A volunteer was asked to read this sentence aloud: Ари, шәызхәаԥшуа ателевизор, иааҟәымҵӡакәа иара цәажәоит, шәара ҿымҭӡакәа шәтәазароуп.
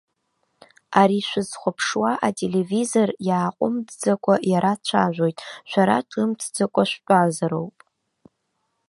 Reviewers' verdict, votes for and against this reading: rejected, 1, 2